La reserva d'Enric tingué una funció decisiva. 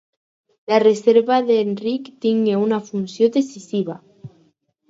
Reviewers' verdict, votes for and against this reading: accepted, 4, 0